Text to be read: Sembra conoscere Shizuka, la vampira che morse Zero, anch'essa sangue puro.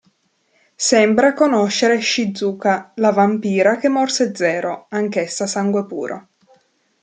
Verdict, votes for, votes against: accepted, 3, 0